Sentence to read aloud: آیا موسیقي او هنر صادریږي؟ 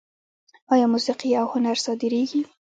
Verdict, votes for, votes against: rejected, 0, 2